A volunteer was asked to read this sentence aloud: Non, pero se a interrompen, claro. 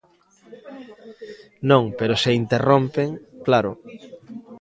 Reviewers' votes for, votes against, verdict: 1, 2, rejected